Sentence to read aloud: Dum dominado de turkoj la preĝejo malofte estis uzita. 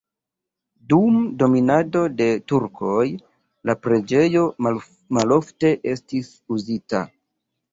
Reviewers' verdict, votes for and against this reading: rejected, 1, 2